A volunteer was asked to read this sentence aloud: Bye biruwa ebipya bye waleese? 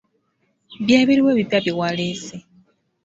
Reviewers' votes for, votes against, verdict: 2, 0, accepted